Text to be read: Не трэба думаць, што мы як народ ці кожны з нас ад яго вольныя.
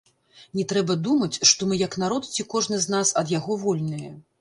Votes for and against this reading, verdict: 1, 2, rejected